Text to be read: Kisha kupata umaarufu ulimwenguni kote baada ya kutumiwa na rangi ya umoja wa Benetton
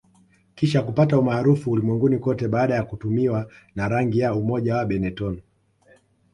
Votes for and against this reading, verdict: 1, 2, rejected